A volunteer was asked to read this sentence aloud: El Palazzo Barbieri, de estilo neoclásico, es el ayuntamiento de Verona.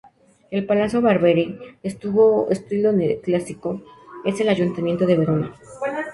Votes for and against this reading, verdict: 0, 2, rejected